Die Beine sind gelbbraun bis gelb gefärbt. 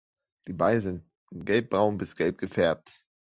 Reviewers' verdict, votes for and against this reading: accepted, 2, 0